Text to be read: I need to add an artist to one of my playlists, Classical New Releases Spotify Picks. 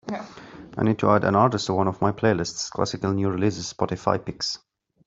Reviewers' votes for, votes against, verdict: 3, 0, accepted